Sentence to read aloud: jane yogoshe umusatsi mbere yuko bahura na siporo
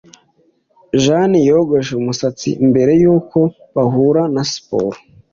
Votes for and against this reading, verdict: 2, 0, accepted